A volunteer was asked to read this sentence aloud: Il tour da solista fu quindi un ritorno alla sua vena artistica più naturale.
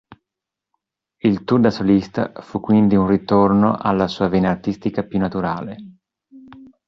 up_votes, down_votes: 2, 0